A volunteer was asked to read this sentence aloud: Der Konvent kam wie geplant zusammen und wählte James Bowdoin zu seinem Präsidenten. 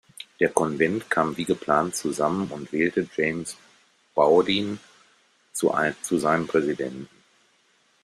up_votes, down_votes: 1, 2